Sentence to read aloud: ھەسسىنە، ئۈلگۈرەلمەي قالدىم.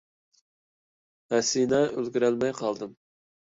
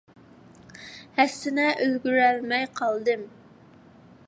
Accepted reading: second